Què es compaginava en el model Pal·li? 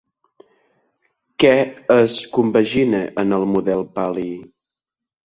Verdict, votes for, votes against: rejected, 0, 2